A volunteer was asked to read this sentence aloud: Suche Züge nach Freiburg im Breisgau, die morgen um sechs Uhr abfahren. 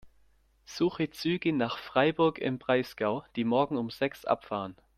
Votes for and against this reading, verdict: 0, 2, rejected